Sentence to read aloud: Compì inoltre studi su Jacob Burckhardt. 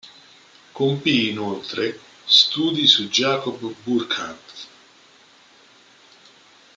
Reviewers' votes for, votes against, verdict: 0, 2, rejected